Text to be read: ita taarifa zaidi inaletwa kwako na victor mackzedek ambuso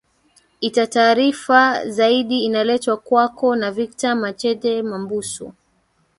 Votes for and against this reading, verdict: 2, 3, rejected